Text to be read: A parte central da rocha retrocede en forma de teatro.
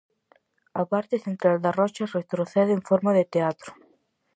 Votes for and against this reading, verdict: 4, 0, accepted